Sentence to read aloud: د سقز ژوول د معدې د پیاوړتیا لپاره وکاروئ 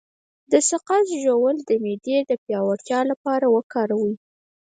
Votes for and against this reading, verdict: 2, 4, rejected